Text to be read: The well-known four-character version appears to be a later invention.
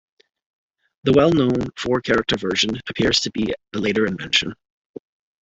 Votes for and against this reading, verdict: 2, 0, accepted